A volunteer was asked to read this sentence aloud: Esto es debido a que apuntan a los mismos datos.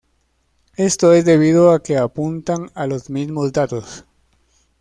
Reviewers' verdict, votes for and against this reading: accepted, 2, 0